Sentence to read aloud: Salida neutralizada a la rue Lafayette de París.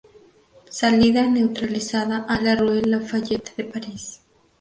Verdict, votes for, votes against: accepted, 2, 0